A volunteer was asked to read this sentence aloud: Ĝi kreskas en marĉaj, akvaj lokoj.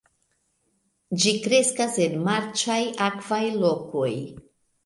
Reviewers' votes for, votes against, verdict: 2, 1, accepted